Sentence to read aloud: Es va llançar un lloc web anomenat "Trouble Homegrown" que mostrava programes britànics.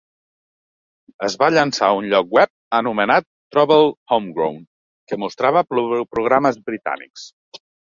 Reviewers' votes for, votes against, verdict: 0, 2, rejected